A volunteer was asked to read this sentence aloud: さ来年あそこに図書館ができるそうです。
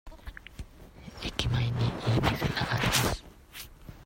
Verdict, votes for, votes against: rejected, 0, 2